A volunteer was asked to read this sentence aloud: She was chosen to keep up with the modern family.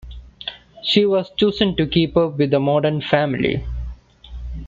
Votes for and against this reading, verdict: 2, 0, accepted